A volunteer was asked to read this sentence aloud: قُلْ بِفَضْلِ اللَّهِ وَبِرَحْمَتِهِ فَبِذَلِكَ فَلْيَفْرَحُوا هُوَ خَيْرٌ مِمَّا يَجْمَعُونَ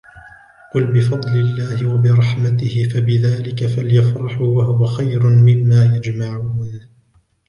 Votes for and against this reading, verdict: 0, 2, rejected